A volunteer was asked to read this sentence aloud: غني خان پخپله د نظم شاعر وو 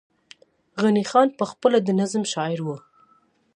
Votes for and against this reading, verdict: 2, 0, accepted